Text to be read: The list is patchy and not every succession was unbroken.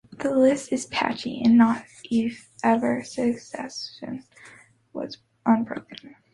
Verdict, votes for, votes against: rejected, 0, 2